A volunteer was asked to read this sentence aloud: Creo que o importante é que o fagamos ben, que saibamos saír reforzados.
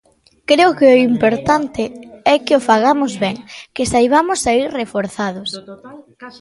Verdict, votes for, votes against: rejected, 2, 3